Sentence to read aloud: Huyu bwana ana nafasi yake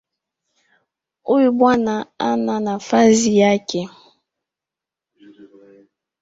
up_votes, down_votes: 2, 0